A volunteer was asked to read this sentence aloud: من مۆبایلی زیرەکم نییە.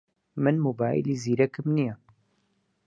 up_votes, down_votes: 4, 0